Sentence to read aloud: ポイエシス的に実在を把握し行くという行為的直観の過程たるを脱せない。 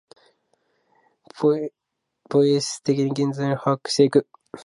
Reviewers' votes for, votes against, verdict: 0, 2, rejected